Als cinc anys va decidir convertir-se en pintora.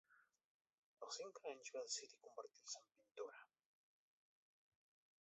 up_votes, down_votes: 0, 2